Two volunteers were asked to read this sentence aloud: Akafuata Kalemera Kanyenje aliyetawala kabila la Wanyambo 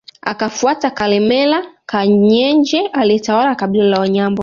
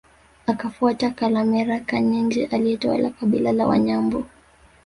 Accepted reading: second